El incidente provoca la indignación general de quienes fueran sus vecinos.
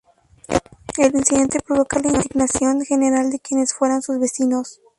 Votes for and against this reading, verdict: 0, 2, rejected